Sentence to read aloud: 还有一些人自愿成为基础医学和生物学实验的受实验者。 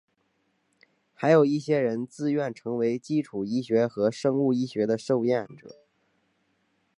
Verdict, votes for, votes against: accepted, 2, 0